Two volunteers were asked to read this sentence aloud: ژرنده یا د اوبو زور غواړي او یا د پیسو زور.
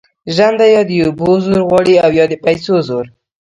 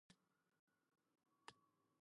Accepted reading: first